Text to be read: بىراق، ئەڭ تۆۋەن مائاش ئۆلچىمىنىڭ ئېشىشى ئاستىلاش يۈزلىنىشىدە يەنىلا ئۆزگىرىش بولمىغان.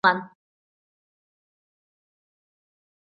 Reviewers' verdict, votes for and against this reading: rejected, 0, 2